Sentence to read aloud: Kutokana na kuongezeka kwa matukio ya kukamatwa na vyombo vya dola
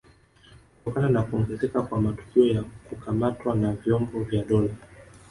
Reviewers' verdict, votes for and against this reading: accepted, 3, 0